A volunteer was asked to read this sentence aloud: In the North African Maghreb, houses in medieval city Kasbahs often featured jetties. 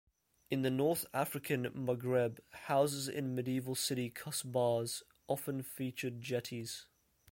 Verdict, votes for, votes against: rejected, 1, 2